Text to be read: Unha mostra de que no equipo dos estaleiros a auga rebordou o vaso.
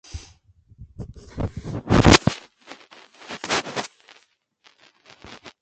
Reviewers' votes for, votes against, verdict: 0, 2, rejected